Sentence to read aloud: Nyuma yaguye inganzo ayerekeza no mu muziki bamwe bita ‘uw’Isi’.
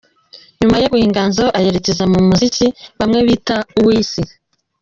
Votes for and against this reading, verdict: 0, 2, rejected